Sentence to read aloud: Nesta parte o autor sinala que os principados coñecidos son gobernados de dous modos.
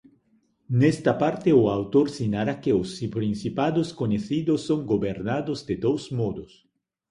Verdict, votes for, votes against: rejected, 0, 2